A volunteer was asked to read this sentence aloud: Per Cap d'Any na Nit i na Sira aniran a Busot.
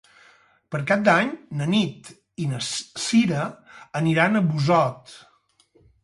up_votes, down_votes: 0, 2